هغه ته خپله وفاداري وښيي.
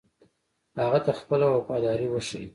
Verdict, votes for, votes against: accepted, 2, 0